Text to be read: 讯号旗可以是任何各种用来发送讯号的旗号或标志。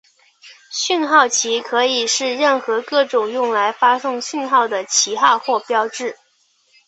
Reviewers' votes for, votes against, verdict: 3, 0, accepted